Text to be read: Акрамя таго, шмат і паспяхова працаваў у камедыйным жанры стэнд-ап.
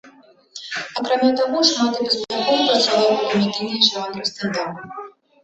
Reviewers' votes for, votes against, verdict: 0, 2, rejected